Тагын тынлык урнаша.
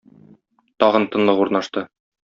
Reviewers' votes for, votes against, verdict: 0, 2, rejected